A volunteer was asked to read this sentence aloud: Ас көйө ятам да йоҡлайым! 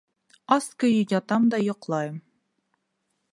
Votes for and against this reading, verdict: 2, 0, accepted